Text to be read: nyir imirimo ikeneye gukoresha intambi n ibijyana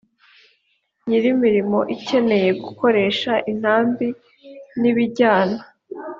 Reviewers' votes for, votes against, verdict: 2, 0, accepted